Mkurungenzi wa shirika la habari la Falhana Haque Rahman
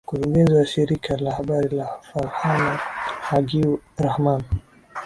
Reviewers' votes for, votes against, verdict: 2, 1, accepted